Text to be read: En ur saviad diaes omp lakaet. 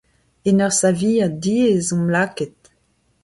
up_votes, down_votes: 2, 0